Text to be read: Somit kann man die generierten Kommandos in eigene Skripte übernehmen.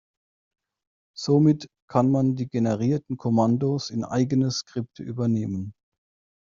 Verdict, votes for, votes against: accepted, 2, 0